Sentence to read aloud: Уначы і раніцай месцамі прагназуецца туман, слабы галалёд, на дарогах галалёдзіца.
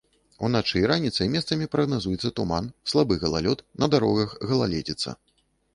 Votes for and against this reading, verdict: 0, 2, rejected